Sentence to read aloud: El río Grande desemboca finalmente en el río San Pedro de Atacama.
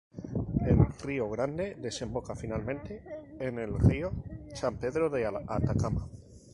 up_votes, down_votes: 2, 0